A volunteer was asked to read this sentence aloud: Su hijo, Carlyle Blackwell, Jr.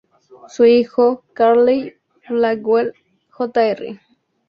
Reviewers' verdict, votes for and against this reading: accepted, 2, 0